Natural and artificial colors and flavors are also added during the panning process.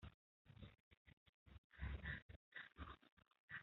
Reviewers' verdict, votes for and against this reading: rejected, 0, 2